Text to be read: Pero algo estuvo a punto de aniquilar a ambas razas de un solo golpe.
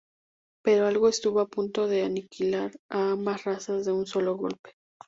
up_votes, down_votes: 2, 0